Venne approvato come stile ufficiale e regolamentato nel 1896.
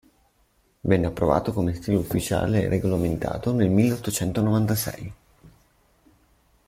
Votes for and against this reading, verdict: 0, 2, rejected